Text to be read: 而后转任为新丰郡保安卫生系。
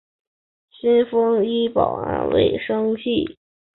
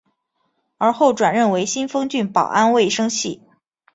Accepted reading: second